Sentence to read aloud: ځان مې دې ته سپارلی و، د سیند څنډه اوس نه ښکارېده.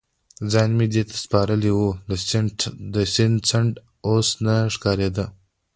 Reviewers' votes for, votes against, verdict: 2, 1, accepted